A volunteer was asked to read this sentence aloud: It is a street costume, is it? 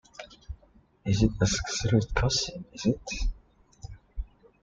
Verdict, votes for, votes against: rejected, 0, 3